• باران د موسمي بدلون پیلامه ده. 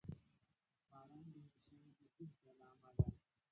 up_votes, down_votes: 0, 2